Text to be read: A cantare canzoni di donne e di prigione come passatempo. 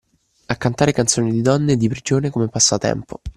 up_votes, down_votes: 2, 0